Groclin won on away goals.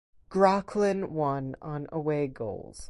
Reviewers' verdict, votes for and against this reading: accepted, 4, 0